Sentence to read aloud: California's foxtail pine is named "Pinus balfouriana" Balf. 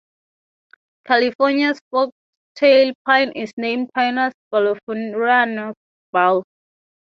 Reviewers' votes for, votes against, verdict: 3, 0, accepted